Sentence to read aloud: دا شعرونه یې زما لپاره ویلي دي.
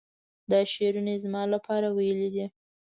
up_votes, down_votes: 2, 0